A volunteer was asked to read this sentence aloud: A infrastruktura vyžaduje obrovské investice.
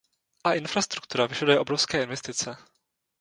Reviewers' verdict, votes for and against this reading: rejected, 0, 2